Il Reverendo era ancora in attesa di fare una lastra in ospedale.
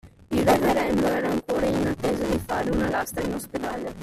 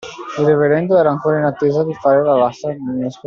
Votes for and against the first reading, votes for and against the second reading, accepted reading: 2, 0, 0, 2, first